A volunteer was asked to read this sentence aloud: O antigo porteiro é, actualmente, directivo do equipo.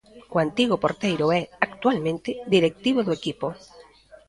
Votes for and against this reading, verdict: 2, 0, accepted